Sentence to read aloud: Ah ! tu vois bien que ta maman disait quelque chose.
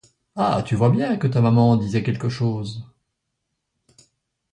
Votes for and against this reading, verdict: 2, 0, accepted